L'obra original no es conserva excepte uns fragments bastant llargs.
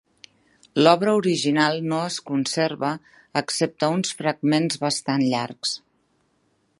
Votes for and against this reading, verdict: 3, 0, accepted